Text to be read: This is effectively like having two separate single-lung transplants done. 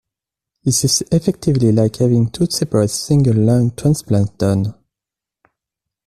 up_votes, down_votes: 1, 2